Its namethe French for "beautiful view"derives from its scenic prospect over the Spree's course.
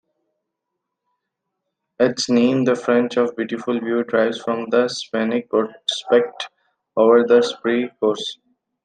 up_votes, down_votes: 1, 2